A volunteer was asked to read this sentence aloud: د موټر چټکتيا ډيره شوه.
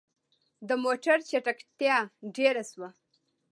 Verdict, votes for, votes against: accepted, 2, 0